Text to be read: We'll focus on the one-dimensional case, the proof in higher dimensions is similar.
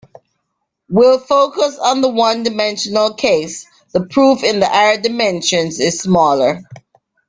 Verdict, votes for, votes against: rejected, 0, 2